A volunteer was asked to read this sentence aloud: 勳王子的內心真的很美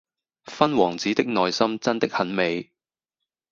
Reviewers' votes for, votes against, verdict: 2, 0, accepted